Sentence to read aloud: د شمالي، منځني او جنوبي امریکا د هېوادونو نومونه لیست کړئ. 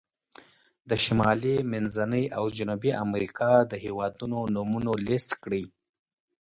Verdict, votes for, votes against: rejected, 1, 2